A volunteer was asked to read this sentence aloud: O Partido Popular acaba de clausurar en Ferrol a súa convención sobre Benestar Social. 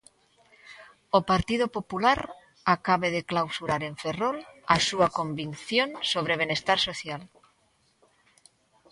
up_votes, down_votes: 0, 2